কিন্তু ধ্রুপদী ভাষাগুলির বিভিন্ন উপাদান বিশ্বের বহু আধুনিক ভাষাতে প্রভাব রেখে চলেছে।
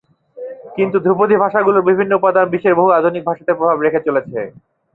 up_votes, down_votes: 0, 2